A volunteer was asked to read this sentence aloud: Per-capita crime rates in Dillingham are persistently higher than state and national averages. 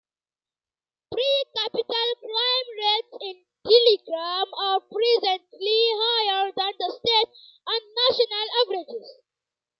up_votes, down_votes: 0, 2